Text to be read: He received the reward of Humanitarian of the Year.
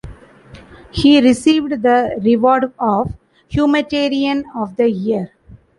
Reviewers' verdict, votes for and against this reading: rejected, 1, 2